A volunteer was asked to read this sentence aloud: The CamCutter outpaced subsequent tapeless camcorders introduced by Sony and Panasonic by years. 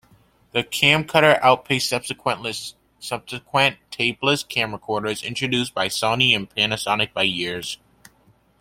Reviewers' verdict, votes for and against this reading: rejected, 0, 2